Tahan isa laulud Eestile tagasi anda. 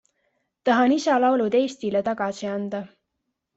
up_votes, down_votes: 2, 0